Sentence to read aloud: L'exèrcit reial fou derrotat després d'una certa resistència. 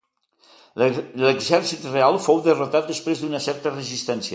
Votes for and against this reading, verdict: 1, 2, rejected